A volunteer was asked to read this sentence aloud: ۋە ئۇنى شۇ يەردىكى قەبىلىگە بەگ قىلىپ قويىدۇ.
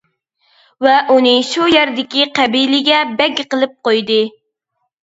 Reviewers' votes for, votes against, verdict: 0, 2, rejected